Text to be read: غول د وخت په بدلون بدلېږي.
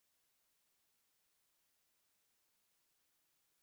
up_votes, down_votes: 0, 2